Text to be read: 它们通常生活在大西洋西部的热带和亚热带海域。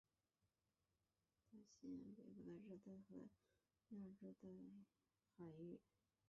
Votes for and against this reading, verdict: 0, 4, rejected